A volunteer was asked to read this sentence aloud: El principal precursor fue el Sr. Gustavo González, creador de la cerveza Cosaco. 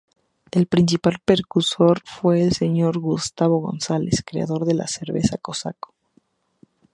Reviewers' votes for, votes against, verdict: 0, 4, rejected